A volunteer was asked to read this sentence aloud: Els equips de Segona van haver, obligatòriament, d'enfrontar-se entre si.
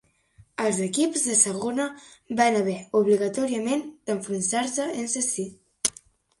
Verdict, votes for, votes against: rejected, 0, 2